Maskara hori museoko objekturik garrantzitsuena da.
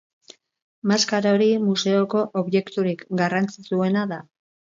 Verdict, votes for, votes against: accepted, 4, 0